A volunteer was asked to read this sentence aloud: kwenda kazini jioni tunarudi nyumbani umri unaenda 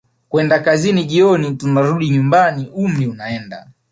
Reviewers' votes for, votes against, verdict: 2, 0, accepted